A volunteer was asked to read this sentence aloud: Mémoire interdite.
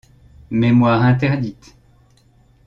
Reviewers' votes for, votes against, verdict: 2, 0, accepted